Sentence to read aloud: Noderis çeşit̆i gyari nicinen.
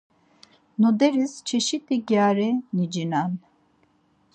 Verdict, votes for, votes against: accepted, 4, 0